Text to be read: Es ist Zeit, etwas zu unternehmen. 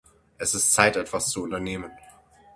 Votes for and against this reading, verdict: 6, 0, accepted